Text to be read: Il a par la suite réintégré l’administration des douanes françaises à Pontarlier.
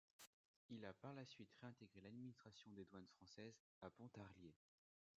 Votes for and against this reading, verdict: 1, 2, rejected